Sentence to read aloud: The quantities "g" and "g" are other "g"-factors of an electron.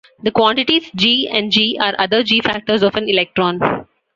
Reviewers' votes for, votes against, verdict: 2, 0, accepted